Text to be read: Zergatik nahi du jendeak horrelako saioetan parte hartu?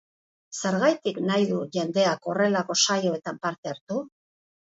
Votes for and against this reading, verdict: 2, 0, accepted